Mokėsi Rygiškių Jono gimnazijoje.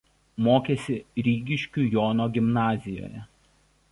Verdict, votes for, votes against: rejected, 1, 2